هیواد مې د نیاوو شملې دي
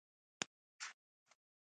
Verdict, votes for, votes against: rejected, 0, 2